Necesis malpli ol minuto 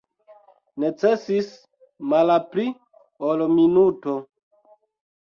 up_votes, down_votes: 1, 2